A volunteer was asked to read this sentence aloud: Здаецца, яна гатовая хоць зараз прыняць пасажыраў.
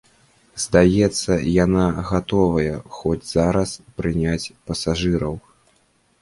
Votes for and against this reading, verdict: 2, 0, accepted